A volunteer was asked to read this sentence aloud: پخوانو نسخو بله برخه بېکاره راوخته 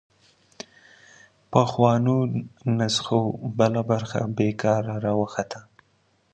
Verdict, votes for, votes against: accepted, 2, 0